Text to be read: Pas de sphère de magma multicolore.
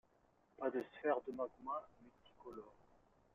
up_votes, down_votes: 2, 0